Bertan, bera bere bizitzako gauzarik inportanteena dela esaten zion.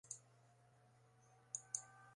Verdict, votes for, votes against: rejected, 0, 2